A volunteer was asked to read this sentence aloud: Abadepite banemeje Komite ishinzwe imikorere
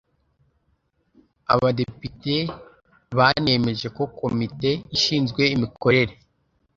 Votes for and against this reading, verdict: 0, 2, rejected